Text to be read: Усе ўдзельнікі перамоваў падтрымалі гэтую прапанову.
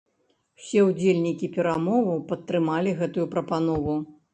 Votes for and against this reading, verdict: 2, 0, accepted